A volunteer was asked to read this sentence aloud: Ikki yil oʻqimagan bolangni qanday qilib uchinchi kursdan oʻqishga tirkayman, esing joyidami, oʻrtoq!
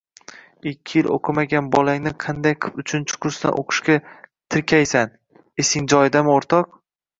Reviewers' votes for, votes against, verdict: 1, 2, rejected